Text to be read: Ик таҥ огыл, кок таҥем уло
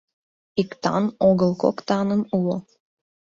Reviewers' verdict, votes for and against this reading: rejected, 1, 2